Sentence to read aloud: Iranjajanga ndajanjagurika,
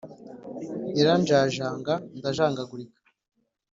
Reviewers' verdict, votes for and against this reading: accepted, 3, 0